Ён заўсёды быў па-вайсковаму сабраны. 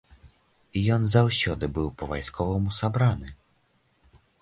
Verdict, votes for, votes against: accepted, 2, 0